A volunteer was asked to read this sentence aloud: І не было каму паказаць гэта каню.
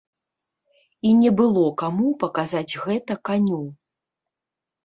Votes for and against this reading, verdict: 3, 0, accepted